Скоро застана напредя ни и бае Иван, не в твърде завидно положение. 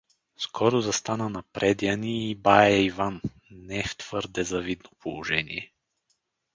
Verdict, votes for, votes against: rejected, 2, 2